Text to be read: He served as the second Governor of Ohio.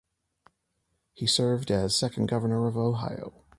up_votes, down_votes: 0, 2